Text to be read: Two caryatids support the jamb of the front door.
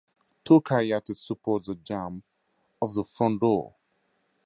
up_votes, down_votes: 2, 2